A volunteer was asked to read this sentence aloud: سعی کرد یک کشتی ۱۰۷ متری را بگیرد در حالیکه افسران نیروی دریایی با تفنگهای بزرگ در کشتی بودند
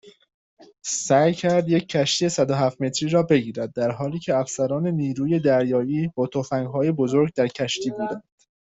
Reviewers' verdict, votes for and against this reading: rejected, 0, 2